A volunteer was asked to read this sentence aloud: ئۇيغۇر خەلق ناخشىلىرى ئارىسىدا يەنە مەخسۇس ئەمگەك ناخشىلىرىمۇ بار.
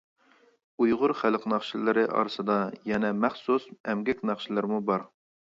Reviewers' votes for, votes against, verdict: 2, 0, accepted